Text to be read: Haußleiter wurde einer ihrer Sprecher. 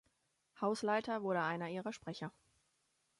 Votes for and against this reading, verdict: 4, 0, accepted